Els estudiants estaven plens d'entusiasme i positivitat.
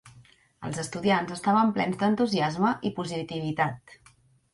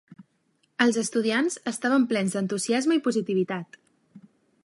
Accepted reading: second